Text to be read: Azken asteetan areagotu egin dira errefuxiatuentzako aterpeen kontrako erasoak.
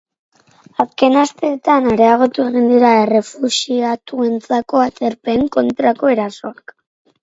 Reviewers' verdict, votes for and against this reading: rejected, 2, 2